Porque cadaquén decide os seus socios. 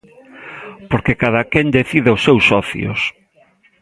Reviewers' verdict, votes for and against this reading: accepted, 2, 1